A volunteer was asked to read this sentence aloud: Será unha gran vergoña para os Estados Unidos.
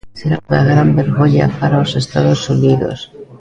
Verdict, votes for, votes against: rejected, 1, 2